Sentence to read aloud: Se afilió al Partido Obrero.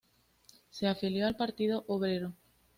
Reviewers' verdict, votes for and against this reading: accepted, 2, 0